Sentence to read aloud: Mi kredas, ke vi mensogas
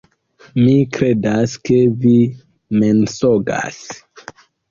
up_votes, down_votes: 2, 0